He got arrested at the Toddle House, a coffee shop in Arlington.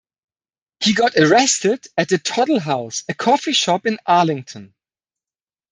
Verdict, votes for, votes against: accepted, 2, 0